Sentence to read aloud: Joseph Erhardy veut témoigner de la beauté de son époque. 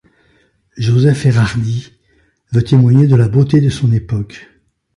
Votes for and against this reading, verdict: 2, 1, accepted